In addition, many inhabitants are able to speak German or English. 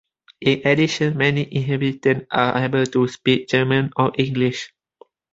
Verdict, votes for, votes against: accepted, 2, 0